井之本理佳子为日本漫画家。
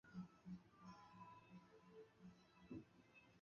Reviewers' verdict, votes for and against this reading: rejected, 0, 5